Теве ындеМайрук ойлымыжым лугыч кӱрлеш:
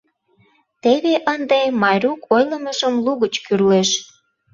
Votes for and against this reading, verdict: 0, 2, rejected